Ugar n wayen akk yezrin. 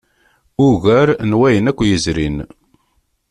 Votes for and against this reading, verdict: 2, 0, accepted